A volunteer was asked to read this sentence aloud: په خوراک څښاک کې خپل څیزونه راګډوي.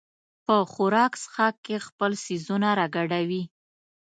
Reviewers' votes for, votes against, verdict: 2, 0, accepted